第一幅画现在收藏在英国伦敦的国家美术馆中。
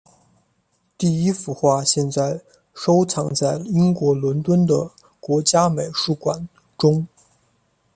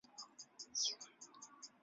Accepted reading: first